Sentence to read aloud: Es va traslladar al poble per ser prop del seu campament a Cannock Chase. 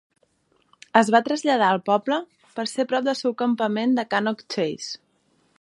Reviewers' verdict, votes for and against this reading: rejected, 0, 2